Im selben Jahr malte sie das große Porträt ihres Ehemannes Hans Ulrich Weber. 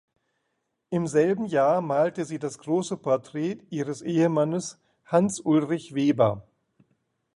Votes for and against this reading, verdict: 2, 0, accepted